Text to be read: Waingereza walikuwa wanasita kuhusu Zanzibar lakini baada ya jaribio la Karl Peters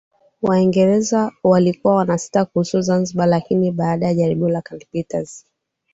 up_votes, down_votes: 2, 0